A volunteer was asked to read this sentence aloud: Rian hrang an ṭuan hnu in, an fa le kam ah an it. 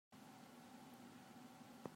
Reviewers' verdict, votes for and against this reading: rejected, 1, 2